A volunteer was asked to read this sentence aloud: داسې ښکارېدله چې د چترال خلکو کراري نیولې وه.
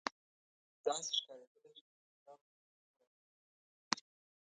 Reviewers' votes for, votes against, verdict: 1, 2, rejected